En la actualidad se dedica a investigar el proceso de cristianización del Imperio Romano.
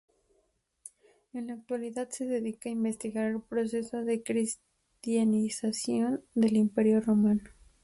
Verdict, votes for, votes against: accepted, 4, 0